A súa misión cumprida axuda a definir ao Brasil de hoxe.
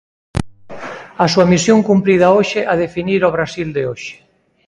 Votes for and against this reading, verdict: 0, 2, rejected